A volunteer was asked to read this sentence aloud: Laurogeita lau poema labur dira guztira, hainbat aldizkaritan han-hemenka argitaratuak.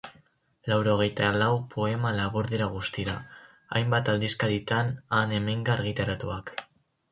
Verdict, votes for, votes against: rejected, 0, 2